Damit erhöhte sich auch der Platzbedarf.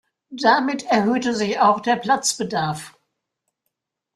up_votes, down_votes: 2, 0